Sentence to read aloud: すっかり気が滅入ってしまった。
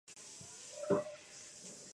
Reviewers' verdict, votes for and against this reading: rejected, 0, 3